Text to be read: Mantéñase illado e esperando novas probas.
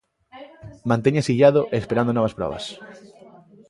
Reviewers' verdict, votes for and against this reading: accepted, 2, 0